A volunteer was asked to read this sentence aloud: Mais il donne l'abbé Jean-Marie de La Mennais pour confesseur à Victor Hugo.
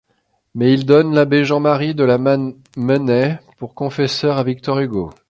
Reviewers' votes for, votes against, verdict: 0, 2, rejected